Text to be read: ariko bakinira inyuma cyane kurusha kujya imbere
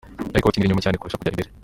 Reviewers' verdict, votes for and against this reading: rejected, 0, 3